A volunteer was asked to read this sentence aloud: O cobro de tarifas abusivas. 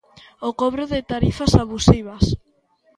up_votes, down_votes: 2, 0